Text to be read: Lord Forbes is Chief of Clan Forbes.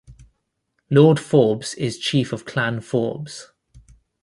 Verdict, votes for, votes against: accepted, 2, 0